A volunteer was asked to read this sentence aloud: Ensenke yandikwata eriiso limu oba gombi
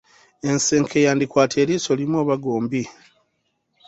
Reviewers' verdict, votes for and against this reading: accepted, 3, 0